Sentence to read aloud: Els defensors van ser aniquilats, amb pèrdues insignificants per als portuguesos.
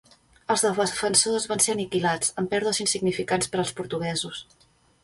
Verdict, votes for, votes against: rejected, 0, 2